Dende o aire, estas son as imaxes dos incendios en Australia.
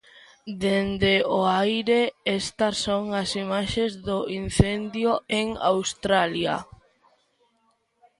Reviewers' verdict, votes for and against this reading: rejected, 0, 2